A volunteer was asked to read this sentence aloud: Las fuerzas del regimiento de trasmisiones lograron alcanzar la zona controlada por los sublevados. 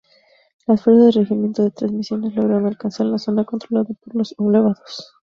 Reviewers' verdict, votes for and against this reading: rejected, 0, 2